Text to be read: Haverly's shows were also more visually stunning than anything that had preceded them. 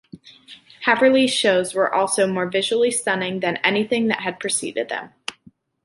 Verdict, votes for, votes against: accepted, 2, 0